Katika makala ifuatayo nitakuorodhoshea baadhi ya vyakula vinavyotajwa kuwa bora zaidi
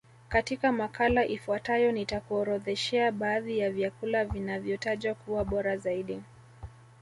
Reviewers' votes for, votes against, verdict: 1, 2, rejected